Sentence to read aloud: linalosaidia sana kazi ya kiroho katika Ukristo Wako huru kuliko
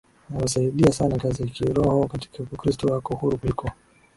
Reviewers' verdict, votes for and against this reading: rejected, 0, 2